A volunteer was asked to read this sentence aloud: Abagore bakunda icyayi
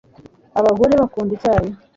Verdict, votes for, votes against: accepted, 2, 0